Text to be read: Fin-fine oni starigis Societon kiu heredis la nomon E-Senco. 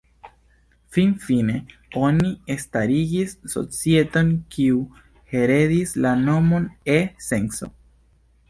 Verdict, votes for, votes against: rejected, 0, 2